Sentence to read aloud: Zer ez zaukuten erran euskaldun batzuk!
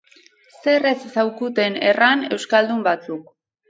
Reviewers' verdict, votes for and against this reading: accepted, 6, 0